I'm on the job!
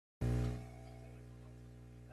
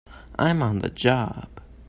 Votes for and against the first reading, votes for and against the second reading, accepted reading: 0, 3, 2, 0, second